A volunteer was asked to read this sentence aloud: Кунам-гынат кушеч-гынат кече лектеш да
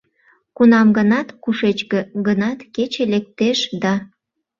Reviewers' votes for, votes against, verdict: 1, 2, rejected